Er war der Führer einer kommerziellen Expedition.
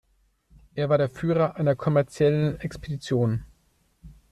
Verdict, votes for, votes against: rejected, 1, 2